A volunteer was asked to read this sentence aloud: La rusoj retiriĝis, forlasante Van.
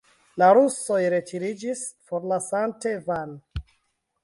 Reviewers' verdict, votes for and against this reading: accepted, 2, 0